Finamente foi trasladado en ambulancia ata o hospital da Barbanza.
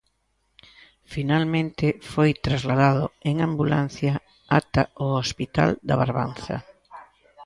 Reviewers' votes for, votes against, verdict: 0, 2, rejected